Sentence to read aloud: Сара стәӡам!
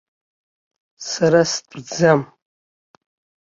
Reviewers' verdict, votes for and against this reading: accepted, 2, 0